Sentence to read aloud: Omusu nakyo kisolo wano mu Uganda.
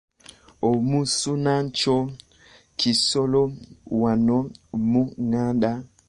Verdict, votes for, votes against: rejected, 0, 2